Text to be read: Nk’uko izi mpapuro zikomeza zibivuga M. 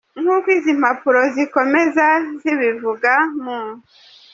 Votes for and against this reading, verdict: 2, 0, accepted